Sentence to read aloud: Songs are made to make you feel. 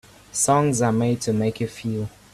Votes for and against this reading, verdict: 2, 0, accepted